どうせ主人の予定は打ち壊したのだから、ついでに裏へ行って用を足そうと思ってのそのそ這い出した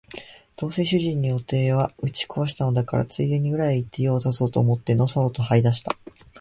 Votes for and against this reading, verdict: 3, 0, accepted